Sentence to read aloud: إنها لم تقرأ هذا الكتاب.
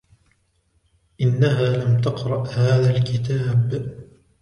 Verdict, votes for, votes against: rejected, 1, 2